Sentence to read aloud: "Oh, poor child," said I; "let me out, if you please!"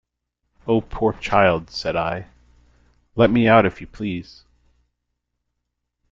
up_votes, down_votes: 2, 0